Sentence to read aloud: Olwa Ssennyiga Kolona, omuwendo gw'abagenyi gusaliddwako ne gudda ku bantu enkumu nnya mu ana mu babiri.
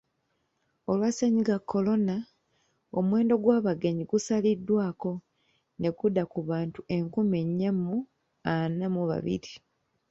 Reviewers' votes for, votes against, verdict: 0, 2, rejected